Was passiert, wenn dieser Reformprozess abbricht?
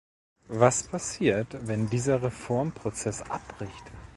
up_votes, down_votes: 2, 0